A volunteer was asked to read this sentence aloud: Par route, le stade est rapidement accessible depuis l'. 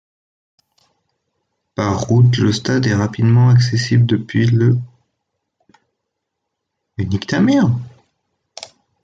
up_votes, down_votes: 1, 2